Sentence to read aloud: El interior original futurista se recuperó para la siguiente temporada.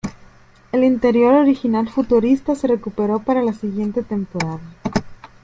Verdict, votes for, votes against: accepted, 2, 0